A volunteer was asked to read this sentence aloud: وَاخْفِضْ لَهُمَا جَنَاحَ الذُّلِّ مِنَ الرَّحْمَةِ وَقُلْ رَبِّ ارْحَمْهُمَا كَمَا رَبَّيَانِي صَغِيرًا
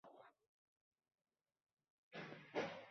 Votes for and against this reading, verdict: 0, 2, rejected